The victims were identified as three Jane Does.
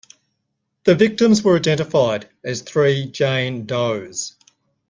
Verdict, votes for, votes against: accepted, 2, 0